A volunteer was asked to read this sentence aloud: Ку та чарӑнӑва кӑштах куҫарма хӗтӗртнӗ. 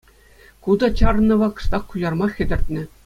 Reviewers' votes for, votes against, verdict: 2, 0, accepted